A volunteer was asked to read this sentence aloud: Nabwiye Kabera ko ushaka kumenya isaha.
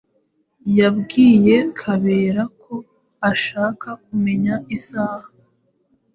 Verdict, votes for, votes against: rejected, 1, 2